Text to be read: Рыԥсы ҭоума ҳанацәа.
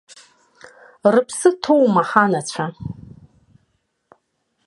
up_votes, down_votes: 1, 2